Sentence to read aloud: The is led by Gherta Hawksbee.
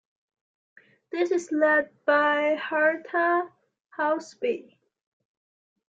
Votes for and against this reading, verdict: 0, 2, rejected